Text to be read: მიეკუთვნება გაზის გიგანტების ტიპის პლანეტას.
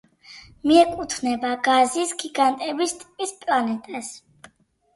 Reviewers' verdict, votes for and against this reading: rejected, 0, 2